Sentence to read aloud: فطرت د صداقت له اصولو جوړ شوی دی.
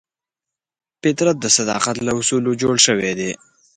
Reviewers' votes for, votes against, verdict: 2, 0, accepted